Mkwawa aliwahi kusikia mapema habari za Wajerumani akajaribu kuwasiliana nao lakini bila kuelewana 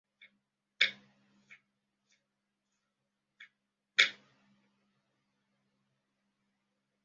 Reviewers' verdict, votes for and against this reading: rejected, 0, 2